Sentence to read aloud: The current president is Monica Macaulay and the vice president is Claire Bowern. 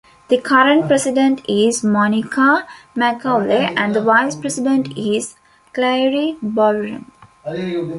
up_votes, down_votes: 0, 2